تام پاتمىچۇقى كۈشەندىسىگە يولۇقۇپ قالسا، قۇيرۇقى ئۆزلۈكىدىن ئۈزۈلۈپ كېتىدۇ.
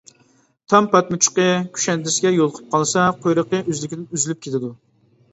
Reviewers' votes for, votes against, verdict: 1, 2, rejected